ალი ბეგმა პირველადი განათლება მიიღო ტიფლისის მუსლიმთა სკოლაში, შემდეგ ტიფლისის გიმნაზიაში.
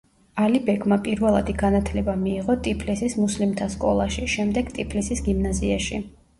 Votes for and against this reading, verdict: 1, 2, rejected